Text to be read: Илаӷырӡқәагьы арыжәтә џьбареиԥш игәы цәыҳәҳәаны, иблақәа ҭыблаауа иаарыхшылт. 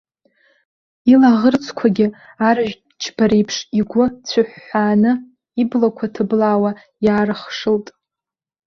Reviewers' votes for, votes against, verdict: 0, 2, rejected